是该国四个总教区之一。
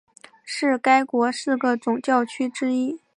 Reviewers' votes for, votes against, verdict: 4, 0, accepted